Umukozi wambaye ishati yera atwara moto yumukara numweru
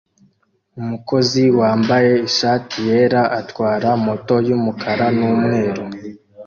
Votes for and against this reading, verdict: 2, 1, accepted